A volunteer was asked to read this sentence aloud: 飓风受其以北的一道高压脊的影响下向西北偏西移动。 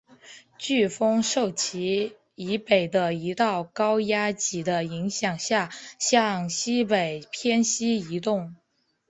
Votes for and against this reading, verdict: 1, 2, rejected